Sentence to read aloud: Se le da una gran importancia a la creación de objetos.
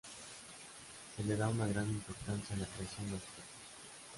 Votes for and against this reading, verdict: 1, 2, rejected